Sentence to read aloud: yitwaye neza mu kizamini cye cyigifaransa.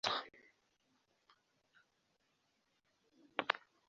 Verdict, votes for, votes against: rejected, 0, 2